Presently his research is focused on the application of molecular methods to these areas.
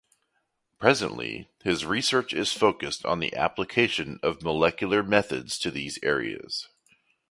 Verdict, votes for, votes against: accepted, 2, 0